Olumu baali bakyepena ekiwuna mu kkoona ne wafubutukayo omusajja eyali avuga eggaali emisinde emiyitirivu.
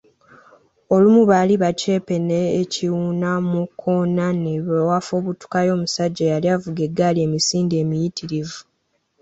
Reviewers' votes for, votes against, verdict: 2, 3, rejected